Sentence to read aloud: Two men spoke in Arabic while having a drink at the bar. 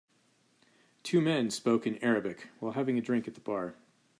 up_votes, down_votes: 2, 0